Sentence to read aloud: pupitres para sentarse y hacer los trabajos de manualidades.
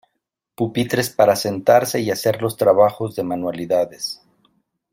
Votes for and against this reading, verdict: 2, 1, accepted